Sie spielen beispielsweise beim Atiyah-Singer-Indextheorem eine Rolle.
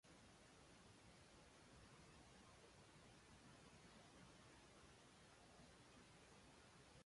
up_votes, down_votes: 0, 2